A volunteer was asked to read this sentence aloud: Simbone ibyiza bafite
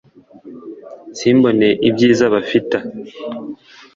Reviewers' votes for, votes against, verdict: 0, 2, rejected